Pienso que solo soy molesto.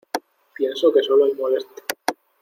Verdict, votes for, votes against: accepted, 2, 1